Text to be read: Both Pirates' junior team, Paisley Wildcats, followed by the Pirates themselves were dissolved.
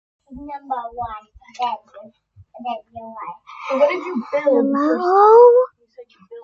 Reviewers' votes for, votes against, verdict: 0, 2, rejected